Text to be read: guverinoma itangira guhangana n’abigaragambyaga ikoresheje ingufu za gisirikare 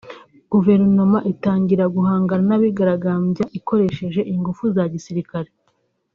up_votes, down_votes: 3, 1